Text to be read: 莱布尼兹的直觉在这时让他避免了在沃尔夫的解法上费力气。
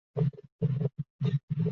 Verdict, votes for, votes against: rejected, 0, 4